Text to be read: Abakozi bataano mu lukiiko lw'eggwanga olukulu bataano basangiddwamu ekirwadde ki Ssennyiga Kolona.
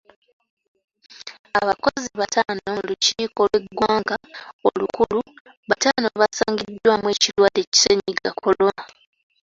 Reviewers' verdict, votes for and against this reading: accepted, 2, 1